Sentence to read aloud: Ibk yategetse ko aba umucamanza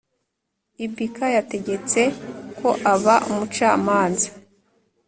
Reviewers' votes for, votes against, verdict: 2, 0, accepted